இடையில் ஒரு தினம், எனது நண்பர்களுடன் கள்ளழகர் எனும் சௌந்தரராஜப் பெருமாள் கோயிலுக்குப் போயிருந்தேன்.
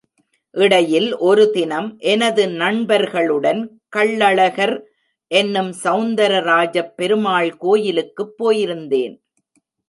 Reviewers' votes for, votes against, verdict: 1, 2, rejected